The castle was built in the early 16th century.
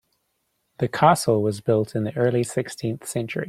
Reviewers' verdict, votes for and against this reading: rejected, 0, 2